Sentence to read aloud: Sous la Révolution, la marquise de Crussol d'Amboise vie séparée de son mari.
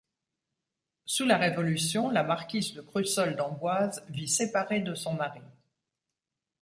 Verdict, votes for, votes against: accepted, 2, 0